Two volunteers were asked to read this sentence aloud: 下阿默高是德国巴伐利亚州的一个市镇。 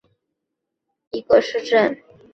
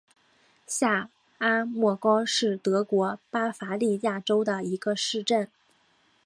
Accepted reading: second